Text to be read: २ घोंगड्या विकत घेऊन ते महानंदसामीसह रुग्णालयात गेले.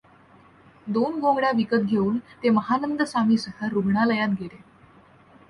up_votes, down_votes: 0, 2